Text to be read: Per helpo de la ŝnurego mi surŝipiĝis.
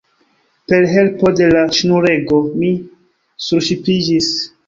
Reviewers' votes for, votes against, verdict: 1, 2, rejected